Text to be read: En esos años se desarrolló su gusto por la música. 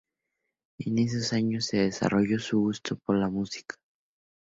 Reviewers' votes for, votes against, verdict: 2, 0, accepted